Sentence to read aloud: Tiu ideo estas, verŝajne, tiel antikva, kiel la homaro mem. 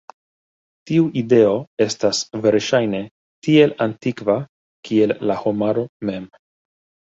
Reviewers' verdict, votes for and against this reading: rejected, 1, 2